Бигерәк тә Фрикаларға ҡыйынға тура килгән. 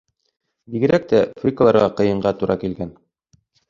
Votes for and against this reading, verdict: 2, 3, rejected